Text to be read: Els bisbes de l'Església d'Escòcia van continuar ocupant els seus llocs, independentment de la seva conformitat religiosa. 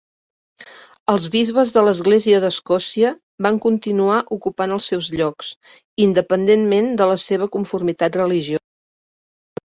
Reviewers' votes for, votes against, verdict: 0, 2, rejected